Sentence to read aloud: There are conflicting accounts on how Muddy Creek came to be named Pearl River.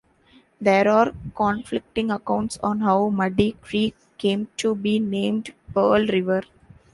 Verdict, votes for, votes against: accepted, 3, 0